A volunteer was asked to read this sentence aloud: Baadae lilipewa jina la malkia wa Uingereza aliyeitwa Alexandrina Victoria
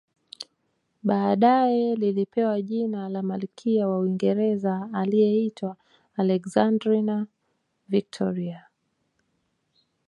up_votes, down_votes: 1, 2